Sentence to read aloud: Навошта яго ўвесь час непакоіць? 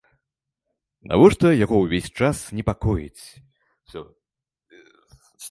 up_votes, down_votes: 0, 2